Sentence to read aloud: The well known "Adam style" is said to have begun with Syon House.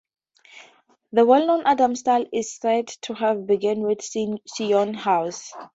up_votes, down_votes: 2, 0